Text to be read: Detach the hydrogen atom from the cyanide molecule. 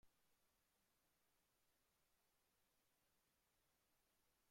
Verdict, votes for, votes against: rejected, 0, 2